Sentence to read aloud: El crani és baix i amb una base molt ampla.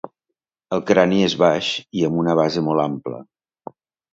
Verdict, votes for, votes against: accepted, 2, 0